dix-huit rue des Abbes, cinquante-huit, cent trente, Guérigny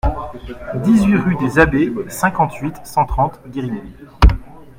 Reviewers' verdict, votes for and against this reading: rejected, 2, 3